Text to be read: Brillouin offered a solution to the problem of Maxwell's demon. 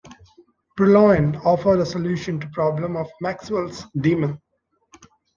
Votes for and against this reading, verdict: 0, 2, rejected